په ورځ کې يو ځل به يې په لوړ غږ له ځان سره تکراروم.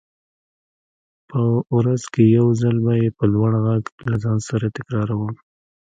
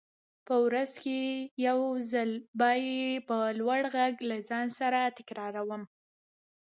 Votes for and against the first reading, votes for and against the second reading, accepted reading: 2, 0, 1, 2, first